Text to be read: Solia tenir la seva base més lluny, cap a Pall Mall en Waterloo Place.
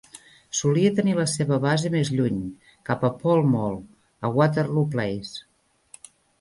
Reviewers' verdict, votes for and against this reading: rejected, 0, 2